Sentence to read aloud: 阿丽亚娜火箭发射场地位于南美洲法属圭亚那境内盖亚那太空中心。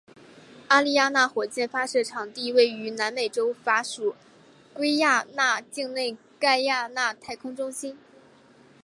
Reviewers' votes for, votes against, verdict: 2, 0, accepted